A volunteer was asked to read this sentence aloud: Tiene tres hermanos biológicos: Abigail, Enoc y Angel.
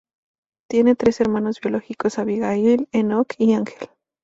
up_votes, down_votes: 2, 0